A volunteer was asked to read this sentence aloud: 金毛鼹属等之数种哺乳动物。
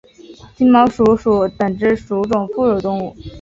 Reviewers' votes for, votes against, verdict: 2, 1, accepted